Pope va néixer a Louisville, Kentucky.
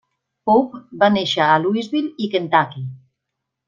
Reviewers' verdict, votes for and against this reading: rejected, 0, 2